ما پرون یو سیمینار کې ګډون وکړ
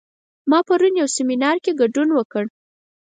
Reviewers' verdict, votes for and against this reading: accepted, 4, 0